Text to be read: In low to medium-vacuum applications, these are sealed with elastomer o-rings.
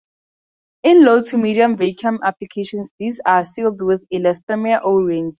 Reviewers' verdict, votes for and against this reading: rejected, 2, 2